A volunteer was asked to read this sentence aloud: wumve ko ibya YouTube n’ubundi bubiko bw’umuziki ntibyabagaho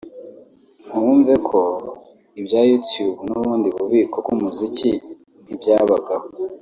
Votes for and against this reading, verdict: 2, 1, accepted